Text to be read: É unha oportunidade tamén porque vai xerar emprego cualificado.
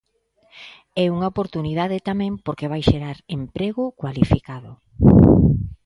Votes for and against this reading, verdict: 2, 0, accepted